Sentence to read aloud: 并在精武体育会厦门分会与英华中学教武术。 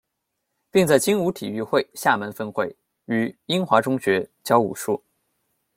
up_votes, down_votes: 1, 2